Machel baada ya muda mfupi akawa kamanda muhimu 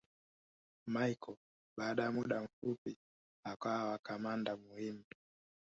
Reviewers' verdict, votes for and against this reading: accepted, 6, 2